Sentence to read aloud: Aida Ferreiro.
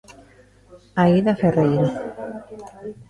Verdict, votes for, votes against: rejected, 0, 2